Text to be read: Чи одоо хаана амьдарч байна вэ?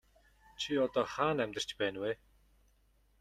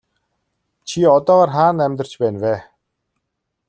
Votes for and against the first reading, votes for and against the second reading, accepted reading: 2, 0, 1, 2, first